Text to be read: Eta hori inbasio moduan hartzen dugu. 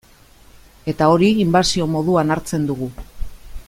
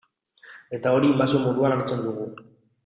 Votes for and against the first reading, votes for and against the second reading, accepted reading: 2, 0, 1, 2, first